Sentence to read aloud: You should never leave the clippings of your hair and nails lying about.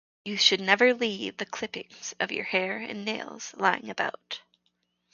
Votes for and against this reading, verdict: 4, 0, accepted